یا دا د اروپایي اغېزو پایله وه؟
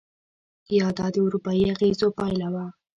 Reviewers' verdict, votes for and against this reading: accepted, 2, 0